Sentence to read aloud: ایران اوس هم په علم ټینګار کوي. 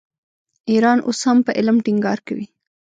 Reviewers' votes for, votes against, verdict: 0, 2, rejected